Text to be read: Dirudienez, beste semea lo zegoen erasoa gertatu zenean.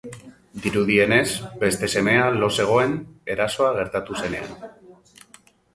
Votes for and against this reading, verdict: 2, 3, rejected